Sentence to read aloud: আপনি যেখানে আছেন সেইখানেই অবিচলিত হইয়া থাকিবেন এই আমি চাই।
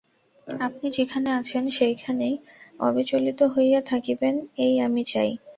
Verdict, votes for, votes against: accepted, 4, 0